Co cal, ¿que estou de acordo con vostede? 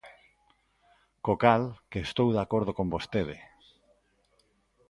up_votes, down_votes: 2, 0